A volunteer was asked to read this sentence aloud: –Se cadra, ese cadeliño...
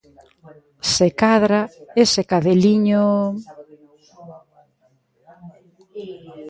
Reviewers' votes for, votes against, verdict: 1, 2, rejected